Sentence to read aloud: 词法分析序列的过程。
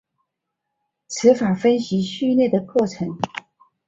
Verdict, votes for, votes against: accepted, 2, 0